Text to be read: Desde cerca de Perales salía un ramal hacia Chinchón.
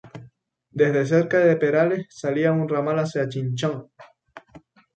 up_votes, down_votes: 4, 0